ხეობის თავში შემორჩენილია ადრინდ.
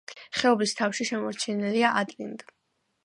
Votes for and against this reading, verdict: 2, 1, accepted